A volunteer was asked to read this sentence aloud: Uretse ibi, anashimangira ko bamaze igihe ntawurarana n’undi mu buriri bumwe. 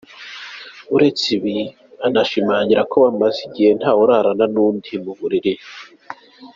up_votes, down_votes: 1, 2